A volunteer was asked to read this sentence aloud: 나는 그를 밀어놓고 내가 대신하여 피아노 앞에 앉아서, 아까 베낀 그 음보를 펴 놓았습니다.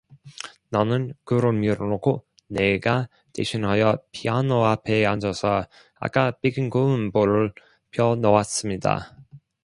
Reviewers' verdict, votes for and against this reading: rejected, 1, 2